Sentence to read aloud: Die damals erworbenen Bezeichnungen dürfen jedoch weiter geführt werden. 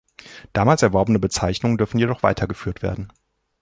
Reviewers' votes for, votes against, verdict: 0, 2, rejected